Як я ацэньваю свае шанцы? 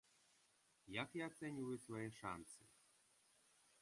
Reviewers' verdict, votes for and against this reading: rejected, 0, 2